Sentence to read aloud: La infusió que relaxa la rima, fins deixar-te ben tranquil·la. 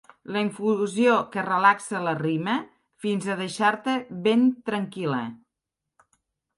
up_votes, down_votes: 1, 2